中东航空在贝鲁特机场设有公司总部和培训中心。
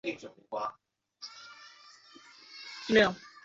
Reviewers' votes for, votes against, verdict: 1, 4, rejected